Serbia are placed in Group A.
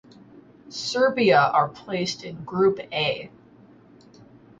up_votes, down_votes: 2, 2